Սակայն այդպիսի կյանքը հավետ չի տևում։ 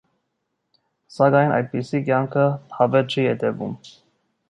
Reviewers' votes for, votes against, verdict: 0, 2, rejected